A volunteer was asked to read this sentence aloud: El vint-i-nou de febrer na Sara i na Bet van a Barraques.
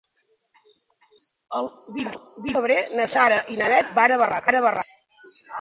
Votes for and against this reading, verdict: 0, 2, rejected